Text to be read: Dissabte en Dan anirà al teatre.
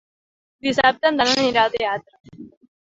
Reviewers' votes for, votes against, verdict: 0, 2, rejected